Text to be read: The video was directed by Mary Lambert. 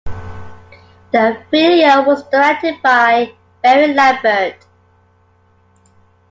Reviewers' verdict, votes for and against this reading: accepted, 2, 1